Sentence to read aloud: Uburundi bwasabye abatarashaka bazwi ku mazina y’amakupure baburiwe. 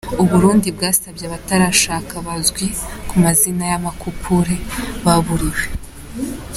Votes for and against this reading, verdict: 2, 1, accepted